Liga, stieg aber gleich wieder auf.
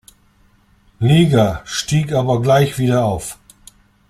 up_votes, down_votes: 2, 0